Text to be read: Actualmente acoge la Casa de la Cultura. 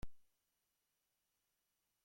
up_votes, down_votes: 0, 2